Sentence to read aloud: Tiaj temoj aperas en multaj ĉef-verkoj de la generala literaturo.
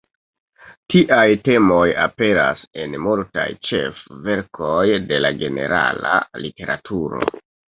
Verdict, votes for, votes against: rejected, 0, 2